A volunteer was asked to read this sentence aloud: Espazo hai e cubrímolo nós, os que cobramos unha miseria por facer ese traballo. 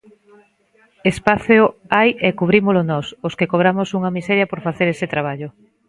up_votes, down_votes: 0, 2